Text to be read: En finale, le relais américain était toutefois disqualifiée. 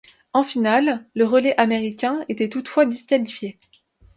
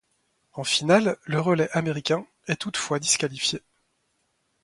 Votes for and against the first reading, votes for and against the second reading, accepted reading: 2, 0, 1, 2, first